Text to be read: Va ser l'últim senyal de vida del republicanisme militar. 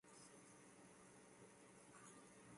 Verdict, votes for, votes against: rejected, 1, 3